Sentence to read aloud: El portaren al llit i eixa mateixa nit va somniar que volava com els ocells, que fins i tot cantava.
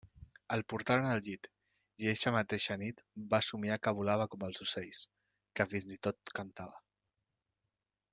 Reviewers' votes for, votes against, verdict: 2, 0, accepted